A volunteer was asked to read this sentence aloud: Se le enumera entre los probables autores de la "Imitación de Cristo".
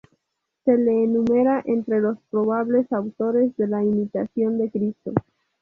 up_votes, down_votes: 0, 2